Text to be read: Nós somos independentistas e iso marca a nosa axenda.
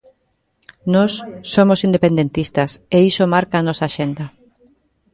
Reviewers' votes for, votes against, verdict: 2, 0, accepted